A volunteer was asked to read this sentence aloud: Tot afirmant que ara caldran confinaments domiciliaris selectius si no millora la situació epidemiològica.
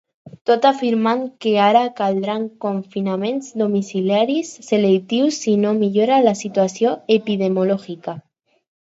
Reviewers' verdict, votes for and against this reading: rejected, 0, 4